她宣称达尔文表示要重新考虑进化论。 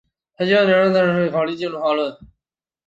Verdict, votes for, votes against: rejected, 0, 2